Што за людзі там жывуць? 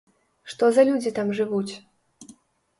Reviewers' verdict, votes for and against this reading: accepted, 2, 0